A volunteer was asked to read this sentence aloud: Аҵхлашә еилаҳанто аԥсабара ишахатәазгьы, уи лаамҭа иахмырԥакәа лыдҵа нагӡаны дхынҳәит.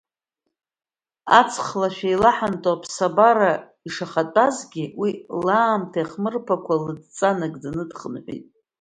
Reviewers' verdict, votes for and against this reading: accepted, 2, 1